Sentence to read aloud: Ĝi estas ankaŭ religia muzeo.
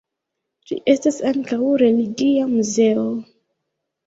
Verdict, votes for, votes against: rejected, 0, 2